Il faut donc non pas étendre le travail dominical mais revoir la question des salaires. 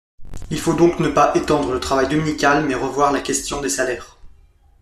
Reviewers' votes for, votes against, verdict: 1, 2, rejected